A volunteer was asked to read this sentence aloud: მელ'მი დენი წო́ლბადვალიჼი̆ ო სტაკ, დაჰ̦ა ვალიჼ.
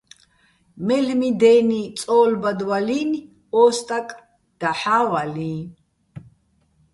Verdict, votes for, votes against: rejected, 1, 2